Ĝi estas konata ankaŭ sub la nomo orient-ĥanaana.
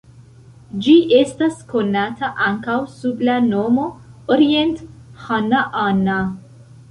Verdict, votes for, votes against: rejected, 1, 3